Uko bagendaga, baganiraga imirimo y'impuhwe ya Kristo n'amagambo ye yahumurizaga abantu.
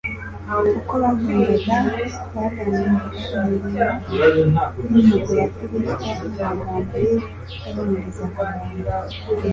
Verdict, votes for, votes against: rejected, 1, 2